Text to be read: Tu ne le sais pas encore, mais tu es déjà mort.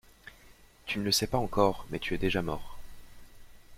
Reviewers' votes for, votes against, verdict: 2, 0, accepted